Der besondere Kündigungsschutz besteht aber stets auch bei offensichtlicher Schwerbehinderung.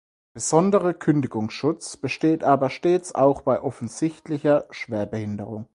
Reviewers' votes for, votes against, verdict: 0, 4, rejected